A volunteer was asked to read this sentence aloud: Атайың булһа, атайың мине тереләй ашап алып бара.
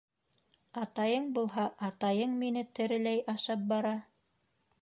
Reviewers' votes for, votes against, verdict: 1, 2, rejected